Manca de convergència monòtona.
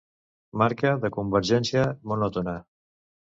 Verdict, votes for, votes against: rejected, 0, 2